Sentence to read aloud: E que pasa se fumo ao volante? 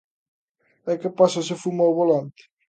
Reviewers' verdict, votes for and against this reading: accepted, 2, 0